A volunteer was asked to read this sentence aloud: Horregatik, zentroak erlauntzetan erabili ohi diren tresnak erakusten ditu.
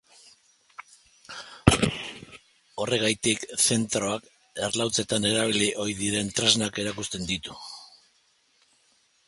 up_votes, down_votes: 0, 2